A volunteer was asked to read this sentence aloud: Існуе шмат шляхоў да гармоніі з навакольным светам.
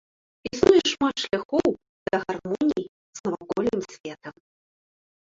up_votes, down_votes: 2, 0